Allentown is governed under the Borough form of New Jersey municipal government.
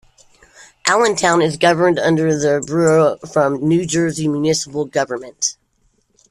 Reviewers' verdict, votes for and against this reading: accepted, 2, 1